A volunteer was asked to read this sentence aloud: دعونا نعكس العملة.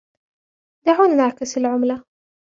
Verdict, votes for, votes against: rejected, 1, 2